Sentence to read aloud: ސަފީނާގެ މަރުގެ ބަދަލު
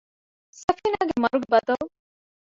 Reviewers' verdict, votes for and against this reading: rejected, 0, 2